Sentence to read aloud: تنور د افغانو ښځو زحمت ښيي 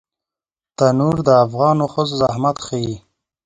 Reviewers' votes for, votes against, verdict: 4, 0, accepted